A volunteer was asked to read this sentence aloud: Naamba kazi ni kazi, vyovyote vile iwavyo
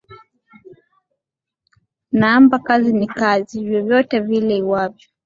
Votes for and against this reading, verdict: 2, 1, accepted